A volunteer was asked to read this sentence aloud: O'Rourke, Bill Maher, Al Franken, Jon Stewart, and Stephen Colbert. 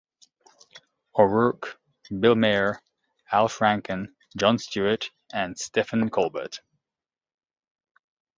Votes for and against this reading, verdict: 2, 0, accepted